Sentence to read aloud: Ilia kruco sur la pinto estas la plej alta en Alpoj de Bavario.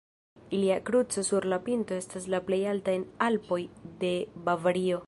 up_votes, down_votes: 1, 2